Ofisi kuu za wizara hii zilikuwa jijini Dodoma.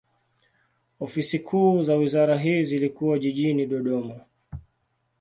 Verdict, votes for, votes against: accepted, 2, 0